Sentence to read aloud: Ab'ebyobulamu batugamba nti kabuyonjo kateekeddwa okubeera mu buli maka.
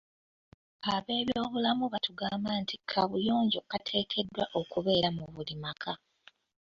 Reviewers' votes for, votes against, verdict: 2, 1, accepted